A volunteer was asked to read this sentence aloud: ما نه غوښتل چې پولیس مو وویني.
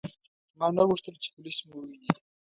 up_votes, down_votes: 1, 2